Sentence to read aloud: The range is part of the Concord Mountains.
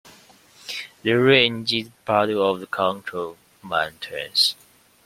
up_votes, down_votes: 2, 0